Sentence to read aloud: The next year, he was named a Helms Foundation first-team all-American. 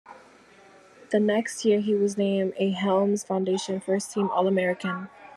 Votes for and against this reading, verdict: 2, 0, accepted